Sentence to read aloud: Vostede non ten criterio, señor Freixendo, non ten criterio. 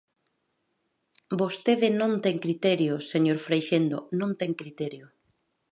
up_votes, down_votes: 2, 0